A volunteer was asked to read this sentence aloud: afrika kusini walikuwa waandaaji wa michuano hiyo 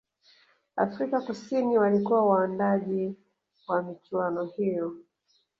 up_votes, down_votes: 1, 2